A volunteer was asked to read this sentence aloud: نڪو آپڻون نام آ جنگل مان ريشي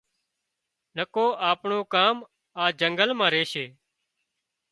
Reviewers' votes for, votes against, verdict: 0, 2, rejected